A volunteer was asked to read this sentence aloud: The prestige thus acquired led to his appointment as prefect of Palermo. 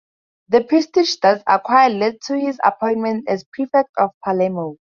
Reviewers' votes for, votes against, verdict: 2, 2, rejected